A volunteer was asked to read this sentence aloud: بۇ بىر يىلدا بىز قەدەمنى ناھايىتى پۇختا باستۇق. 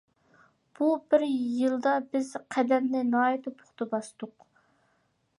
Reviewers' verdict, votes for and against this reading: accepted, 2, 0